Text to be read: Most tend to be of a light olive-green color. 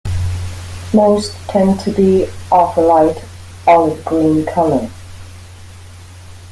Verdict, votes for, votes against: accepted, 2, 0